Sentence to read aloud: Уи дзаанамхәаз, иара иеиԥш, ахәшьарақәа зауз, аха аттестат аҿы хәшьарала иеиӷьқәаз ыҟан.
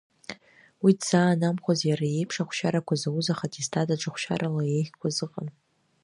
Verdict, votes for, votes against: accepted, 2, 1